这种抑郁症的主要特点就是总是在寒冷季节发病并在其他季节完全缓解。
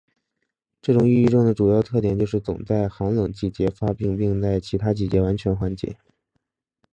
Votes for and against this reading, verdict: 3, 0, accepted